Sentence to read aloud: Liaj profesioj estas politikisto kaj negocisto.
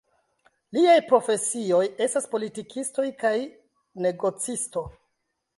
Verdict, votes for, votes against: rejected, 0, 2